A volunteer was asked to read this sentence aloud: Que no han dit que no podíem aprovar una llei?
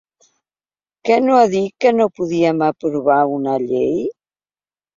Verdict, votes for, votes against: rejected, 1, 2